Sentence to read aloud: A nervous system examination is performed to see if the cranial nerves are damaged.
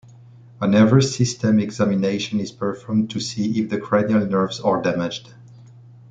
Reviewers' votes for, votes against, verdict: 1, 2, rejected